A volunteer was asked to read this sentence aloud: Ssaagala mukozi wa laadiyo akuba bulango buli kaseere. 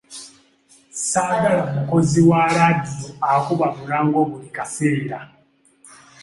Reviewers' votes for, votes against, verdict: 2, 0, accepted